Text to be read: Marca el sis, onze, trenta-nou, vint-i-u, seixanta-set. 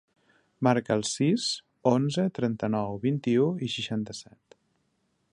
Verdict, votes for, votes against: rejected, 0, 2